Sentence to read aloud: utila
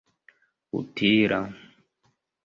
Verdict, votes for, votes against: rejected, 1, 2